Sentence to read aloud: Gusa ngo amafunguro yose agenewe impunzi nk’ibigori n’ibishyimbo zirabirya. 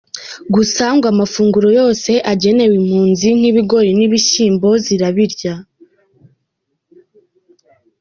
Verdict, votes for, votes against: accepted, 2, 0